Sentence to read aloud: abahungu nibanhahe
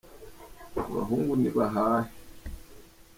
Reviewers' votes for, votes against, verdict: 2, 0, accepted